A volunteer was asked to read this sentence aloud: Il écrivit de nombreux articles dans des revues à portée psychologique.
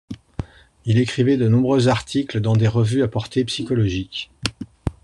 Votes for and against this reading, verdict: 2, 0, accepted